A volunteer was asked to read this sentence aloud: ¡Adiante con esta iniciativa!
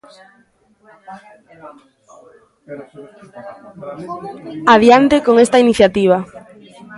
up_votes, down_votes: 1, 2